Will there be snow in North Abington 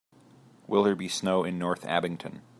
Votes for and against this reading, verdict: 2, 0, accepted